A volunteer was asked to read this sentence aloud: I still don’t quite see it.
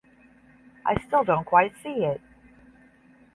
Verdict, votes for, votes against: accepted, 10, 0